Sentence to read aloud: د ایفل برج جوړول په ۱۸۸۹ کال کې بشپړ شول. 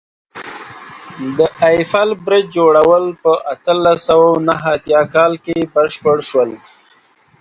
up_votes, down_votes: 0, 2